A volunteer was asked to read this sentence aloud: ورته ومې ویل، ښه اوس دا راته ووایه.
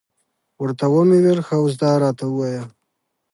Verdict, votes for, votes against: accepted, 2, 0